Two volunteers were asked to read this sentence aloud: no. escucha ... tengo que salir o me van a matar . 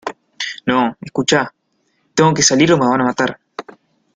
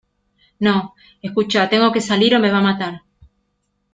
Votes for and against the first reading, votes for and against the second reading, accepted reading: 2, 1, 0, 2, first